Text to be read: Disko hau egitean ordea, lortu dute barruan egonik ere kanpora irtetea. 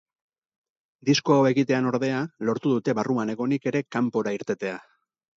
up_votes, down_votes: 4, 0